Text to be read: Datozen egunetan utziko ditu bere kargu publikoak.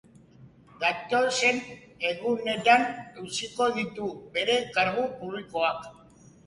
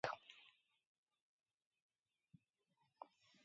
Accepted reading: first